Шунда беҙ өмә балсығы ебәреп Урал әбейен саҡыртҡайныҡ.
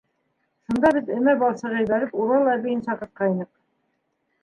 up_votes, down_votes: 1, 2